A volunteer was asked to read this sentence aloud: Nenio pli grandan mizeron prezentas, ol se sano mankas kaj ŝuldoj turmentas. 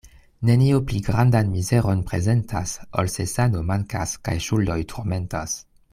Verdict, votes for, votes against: accepted, 2, 1